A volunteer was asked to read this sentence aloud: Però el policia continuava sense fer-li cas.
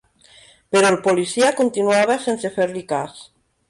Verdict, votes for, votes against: accepted, 3, 0